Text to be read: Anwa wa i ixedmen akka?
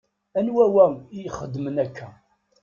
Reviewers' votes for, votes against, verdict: 2, 0, accepted